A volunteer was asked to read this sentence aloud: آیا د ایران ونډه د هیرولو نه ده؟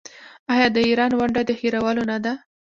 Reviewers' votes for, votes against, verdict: 0, 2, rejected